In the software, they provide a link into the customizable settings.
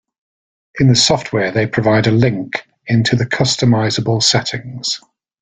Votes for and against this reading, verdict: 2, 0, accepted